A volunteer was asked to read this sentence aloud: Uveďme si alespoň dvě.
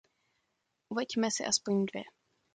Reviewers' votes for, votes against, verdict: 0, 2, rejected